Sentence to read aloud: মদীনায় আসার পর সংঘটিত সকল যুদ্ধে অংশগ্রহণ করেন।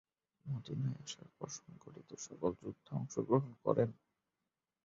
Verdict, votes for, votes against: rejected, 0, 2